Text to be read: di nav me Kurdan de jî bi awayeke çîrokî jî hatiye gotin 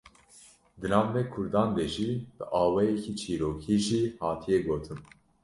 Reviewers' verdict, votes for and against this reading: accepted, 2, 0